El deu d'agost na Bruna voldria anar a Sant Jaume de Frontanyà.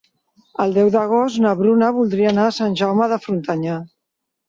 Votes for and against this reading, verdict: 2, 0, accepted